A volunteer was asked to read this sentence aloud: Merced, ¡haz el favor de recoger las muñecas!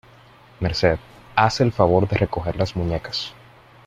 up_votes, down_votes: 2, 0